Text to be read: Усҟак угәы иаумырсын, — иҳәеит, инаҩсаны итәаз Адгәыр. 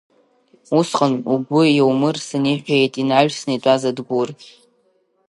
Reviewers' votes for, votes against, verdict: 1, 2, rejected